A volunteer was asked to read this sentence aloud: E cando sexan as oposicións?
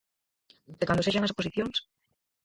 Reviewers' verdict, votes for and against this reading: rejected, 0, 4